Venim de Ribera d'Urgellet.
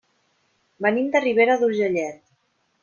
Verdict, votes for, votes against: accepted, 3, 0